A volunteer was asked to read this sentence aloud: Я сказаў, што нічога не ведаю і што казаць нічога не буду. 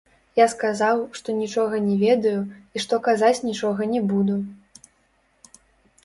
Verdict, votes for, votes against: rejected, 1, 2